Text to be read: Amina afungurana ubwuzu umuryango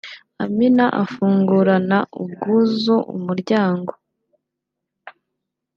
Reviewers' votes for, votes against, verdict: 2, 0, accepted